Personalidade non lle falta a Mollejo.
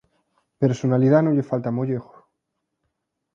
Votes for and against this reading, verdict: 1, 2, rejected